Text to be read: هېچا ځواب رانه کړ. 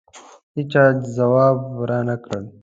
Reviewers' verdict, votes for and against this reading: accepted, 2, 0